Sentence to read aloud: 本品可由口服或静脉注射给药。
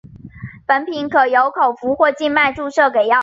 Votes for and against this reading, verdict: 2, 0, accepted